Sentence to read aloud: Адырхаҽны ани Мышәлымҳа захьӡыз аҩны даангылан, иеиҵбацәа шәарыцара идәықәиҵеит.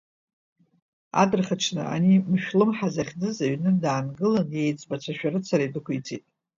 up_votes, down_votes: 2, 0